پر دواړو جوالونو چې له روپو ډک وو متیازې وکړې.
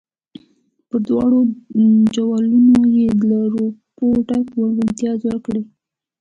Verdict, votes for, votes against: rejected, 1, 2